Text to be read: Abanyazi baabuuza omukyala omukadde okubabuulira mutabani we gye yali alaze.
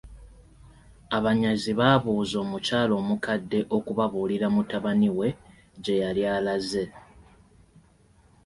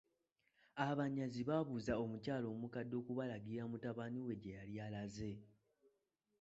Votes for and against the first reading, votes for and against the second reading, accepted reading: 2, 0, 1, 2, first